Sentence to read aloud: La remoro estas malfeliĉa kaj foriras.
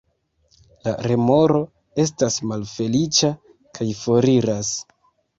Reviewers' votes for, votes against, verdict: 2, 0, accepted